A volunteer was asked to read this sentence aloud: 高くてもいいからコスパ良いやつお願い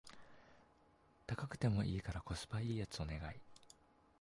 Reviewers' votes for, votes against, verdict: 0, 2, rejected